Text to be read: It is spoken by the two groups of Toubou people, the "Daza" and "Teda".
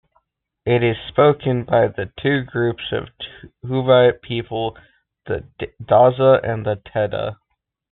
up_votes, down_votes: 0, 2